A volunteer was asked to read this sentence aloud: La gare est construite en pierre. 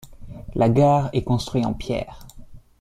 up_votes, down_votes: 0, 2